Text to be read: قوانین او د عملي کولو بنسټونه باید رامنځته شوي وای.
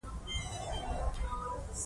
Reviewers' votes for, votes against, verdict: 2, 0, accepted